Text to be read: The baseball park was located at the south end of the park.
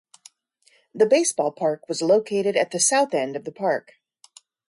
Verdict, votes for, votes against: accepted, 2, 0